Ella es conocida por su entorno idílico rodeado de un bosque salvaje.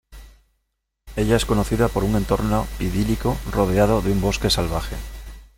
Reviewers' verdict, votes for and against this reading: rejected, 0, 2